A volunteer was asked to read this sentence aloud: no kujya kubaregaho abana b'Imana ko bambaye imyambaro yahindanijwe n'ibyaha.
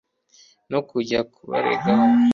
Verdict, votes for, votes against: rejected, 0, 3